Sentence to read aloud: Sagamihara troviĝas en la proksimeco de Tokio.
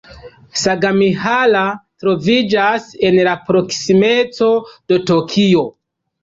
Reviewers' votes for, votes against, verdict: 2, 0, accepted